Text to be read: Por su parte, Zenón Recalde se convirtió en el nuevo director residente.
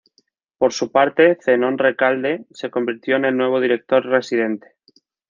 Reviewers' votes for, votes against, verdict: 0, 2, rejected